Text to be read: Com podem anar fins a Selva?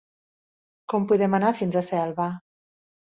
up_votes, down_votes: 3, 0